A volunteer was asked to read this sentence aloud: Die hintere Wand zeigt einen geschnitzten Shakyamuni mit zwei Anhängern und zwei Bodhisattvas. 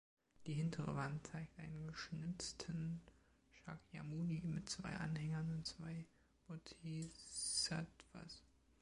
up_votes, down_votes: 0, 2